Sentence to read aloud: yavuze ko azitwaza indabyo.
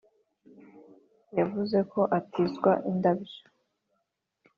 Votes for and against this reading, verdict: 1, 2, rejected